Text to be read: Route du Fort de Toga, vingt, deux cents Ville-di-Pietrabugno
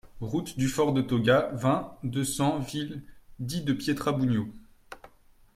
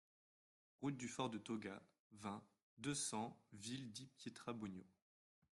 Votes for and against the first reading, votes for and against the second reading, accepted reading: 1, 2, 2, 0, second